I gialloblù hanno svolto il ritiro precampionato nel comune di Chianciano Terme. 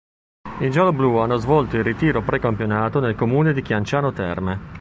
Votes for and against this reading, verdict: 3, 0, accepted